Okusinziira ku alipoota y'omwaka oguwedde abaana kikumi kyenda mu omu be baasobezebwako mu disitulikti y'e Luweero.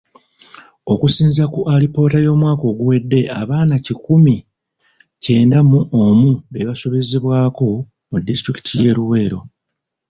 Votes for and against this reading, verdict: 1, 2, rejected